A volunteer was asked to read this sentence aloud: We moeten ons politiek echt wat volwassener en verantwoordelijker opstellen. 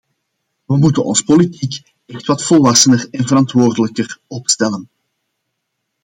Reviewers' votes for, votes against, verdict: 2, 0, accepted